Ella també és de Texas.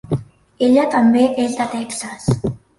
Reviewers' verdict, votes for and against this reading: accepted, 2, 1